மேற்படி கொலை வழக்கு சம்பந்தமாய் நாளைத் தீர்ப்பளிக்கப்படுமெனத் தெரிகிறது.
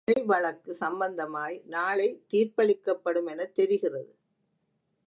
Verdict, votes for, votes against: rejected, 1, 2